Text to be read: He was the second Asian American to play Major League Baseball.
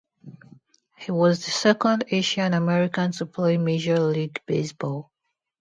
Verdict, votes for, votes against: accepted, 2, 0